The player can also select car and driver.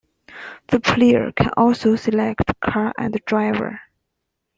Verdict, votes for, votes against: accepted, 2, 0